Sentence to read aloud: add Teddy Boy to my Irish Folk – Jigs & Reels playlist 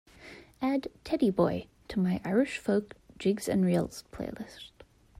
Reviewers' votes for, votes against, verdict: 2, 0, accepted